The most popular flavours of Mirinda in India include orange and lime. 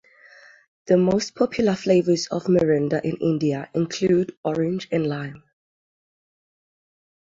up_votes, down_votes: 6, 0